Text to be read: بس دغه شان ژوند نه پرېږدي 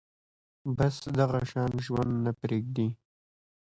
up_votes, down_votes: 2, 0